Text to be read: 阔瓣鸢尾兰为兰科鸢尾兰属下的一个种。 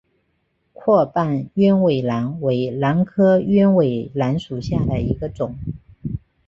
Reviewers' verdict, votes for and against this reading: accepted, 2, 0